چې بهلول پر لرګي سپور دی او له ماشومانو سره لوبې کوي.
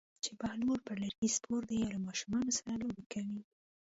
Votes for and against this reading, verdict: 2, 0, accepted